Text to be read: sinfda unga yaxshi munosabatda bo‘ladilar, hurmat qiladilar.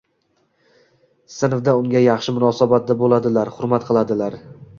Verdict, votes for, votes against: rejected, 1, 2